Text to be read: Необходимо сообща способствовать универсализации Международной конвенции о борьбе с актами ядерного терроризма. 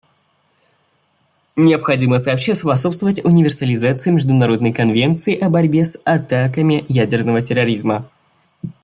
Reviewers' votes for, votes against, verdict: 0, 2, rejected